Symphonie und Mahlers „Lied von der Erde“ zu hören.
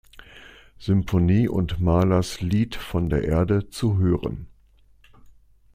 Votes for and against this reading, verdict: 3, 0, accepted